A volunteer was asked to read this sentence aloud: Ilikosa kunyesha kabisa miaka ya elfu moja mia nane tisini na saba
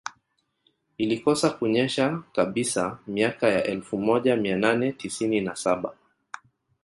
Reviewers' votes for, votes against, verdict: 1, 2, rejected